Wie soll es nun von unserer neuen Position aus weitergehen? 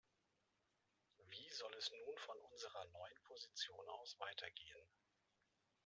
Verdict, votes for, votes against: accepted, 2, 0